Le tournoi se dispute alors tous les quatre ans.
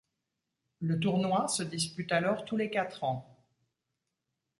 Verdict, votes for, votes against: accepted, 2, 0